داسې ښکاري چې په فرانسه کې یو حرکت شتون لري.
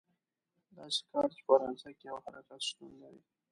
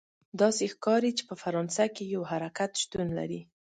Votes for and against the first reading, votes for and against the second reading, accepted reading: 1, 2, 3, 0, second